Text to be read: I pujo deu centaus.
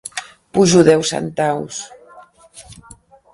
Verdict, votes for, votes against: rejected, 1, 2